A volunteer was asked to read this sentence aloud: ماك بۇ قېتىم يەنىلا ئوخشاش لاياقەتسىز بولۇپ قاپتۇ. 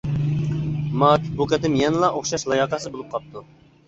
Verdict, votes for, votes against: accepted, 2, 0